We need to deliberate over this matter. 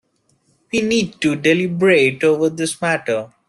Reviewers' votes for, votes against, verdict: 2, 1, accepted